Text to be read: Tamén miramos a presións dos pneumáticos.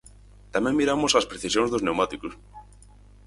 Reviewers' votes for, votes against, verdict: 2, 4, rejected